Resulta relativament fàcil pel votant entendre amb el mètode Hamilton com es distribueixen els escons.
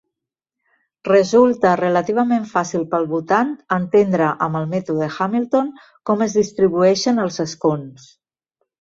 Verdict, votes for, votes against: accepted, 2, 0